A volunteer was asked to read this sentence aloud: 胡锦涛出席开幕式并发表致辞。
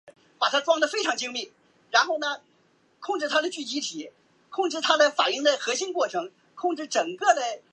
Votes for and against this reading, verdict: 0, 3, rejected